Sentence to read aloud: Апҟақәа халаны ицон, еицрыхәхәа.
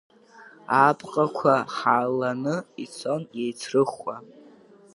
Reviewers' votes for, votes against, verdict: 0, 2, rejected